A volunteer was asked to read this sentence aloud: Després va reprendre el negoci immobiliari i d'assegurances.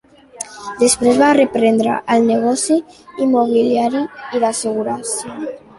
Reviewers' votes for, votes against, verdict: 2, 0, accepted